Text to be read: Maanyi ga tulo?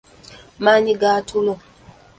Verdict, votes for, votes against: rejected, 0, 2